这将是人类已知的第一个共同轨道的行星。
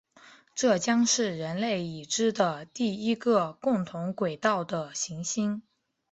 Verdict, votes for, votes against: accepted, 2, 0